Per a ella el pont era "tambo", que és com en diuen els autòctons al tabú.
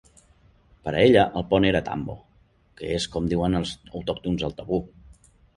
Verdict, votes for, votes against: accepted, 2, 0